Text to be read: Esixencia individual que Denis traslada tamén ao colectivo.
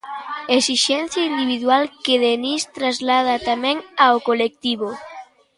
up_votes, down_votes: 2, 1